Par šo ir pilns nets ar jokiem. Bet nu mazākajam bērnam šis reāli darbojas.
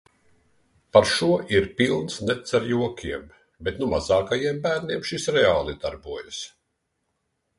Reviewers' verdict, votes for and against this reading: rejected, 1, 2